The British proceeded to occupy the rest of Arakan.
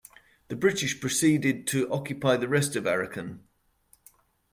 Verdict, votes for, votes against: accepted, 3, 0